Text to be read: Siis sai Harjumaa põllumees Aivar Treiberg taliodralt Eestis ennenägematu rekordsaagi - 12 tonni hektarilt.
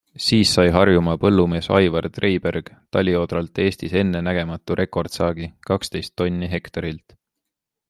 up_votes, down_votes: 0, 2